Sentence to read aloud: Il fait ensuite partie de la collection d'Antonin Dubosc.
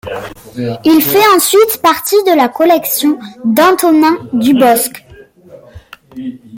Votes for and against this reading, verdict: 2, 0, accepted